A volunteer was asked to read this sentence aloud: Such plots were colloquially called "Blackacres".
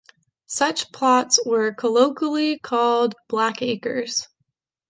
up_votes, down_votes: 2, 0